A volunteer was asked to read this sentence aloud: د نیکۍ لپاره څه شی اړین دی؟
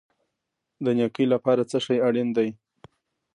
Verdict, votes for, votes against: accepted, 2, 1